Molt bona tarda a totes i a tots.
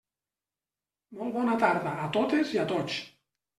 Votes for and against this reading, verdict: 3, 0, accepted